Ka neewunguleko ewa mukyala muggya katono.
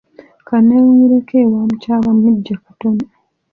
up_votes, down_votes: 2, 0